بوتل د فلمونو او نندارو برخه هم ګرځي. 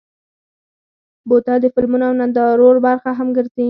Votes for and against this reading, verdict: 2, 4, rejected